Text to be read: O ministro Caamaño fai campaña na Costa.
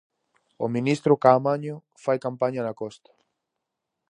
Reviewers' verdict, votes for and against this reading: accepted, 4, 0